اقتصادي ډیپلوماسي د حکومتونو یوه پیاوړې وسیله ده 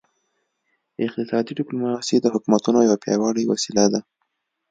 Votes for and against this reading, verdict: 2, 0, accepted